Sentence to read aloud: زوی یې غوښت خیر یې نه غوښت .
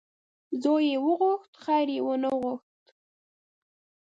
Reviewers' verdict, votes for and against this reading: rejected, 1, 3